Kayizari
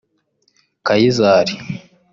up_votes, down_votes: 2, 0